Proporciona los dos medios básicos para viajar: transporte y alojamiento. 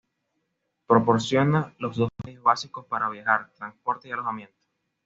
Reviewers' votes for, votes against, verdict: 2, 0, accepted